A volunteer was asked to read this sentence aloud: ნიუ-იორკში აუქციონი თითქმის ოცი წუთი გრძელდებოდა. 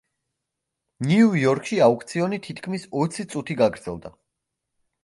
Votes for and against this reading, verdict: 1, 2, rejected